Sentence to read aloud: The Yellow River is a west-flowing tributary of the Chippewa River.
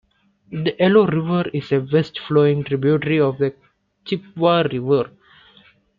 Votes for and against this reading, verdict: 1, 2, rejected